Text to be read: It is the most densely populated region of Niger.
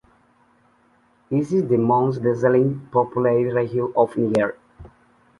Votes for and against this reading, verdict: 1, 2, rejected